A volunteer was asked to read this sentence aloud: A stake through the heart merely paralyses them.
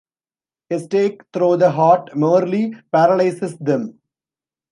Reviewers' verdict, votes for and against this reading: rejected, 1, 2